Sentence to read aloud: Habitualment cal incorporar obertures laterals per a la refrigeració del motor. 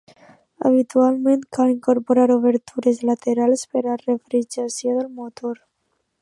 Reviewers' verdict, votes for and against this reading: rejected, 1, 2